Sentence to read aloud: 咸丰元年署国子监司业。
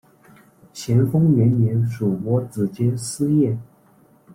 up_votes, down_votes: 1, 2